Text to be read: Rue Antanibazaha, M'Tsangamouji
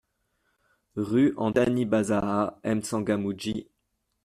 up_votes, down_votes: 1, 2